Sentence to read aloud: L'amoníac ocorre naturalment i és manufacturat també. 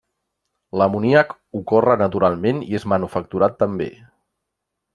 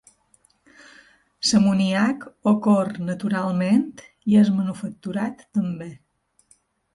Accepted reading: first